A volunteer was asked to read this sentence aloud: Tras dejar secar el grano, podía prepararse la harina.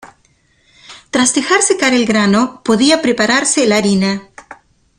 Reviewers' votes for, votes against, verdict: 2, 0, accepted